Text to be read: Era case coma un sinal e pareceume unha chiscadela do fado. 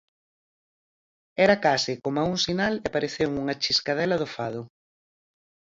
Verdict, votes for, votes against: accepted, 4, 0